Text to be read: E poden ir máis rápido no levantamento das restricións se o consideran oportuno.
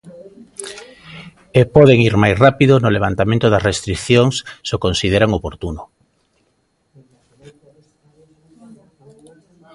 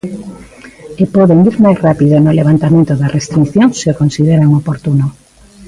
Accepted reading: first